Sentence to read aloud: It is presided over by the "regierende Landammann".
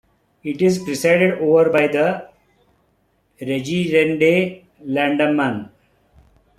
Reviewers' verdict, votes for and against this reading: rejected, 0, 2